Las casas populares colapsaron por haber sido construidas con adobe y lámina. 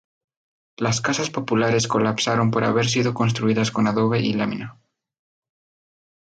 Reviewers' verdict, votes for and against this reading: accepted, 2, 0